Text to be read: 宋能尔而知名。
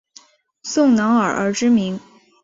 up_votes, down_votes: 2, 0